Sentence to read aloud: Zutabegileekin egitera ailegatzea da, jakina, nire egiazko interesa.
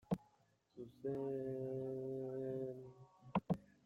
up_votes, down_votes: 0, 2